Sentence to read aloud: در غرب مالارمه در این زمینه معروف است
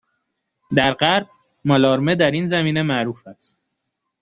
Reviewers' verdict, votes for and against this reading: accepted, 2, 0